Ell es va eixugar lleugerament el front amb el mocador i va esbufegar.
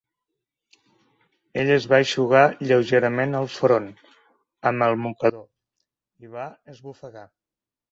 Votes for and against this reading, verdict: 1, 2, rejected